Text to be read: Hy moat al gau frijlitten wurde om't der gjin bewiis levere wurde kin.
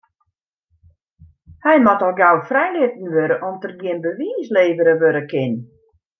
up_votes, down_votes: 2, 1